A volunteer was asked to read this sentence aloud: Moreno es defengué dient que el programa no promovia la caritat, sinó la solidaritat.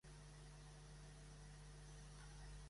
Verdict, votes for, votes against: rejected, 0, 2